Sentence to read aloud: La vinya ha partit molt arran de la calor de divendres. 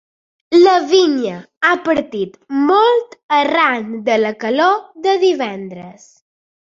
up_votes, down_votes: 3, 0